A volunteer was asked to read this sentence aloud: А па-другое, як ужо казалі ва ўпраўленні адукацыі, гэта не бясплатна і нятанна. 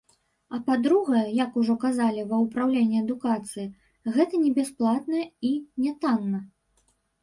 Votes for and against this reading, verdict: 1, 2, rejected